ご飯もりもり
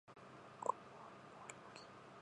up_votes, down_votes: 0, 2